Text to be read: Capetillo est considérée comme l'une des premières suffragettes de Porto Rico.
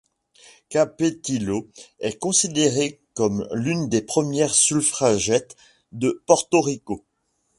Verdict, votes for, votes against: rejected, 1, 2